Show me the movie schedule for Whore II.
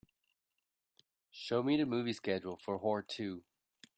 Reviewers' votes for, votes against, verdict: 2, 0, accepted